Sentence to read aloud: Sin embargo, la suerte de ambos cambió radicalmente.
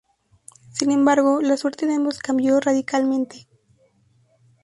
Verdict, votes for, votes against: accepted, 2, 0